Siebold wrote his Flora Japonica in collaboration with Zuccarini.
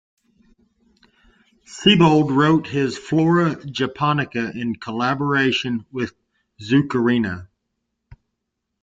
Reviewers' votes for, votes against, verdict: 0, 2, rejected